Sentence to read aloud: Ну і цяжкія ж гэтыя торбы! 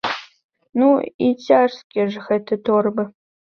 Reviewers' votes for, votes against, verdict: 0, 2, rejected